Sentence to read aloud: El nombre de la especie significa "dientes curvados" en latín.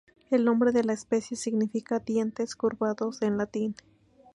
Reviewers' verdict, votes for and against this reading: accepted, 2, 0